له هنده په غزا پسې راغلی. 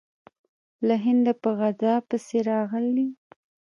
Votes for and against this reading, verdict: 2, 0, accepted